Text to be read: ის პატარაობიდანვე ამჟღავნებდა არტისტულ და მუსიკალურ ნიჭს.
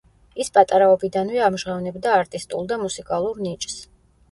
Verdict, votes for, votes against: rejected, 0, 2